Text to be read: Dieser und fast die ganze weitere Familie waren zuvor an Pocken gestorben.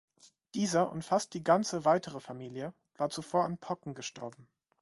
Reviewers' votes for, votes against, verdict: 1, 2, rejected